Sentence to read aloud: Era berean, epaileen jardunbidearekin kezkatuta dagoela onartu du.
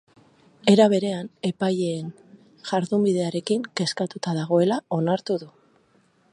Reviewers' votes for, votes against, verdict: 4, 0, accepted